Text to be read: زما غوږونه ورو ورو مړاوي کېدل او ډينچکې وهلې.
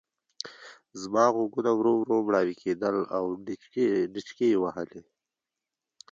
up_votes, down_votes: 2, 1